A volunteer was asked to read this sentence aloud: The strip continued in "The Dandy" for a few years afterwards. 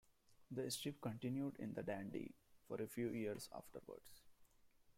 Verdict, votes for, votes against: accepted, 2, 1